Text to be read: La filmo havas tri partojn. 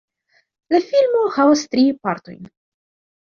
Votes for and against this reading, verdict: 2, 0, accepted